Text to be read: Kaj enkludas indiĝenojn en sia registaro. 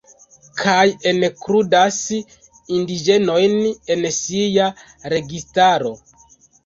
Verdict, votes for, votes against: accepted, 2, 0